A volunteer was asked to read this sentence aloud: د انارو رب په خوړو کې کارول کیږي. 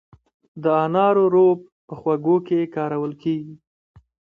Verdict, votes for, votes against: rejected, 1, 2